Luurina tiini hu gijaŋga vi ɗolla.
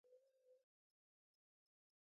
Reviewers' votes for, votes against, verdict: 1, 2, rejected